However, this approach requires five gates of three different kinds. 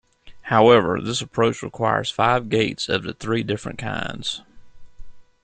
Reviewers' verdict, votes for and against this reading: rejected, 1, 2